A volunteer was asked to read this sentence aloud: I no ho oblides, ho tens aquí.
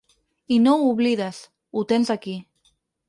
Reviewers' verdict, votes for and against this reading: accepted, 6, 0